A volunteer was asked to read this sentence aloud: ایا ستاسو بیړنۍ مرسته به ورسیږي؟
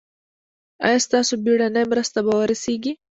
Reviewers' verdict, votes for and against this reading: accepted, 2, 0